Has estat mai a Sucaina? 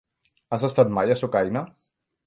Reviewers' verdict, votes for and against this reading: accepted, 3, 1